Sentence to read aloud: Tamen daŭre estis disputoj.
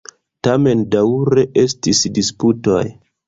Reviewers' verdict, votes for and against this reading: rejected, 1, 2